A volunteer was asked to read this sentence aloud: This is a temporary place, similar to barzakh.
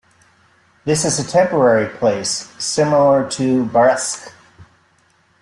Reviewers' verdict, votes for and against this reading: rejected, 1, 2